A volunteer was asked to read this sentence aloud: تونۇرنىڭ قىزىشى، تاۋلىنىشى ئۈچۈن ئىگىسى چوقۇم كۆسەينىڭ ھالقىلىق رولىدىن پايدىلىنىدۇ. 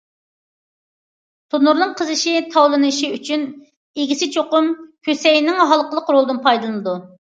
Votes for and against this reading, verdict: 2, 0, accepted